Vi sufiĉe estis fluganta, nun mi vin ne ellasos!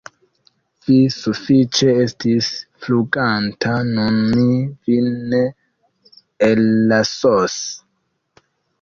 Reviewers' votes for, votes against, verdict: 1, 2, rejected